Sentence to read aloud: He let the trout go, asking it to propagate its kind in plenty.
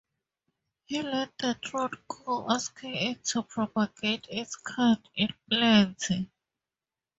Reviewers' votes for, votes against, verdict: 4, 0, accepted